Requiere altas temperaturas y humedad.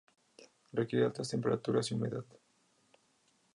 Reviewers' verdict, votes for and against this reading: accepted, 2, 0